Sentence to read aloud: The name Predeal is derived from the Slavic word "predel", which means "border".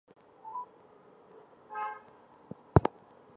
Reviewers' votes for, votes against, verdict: 0, 2, rejected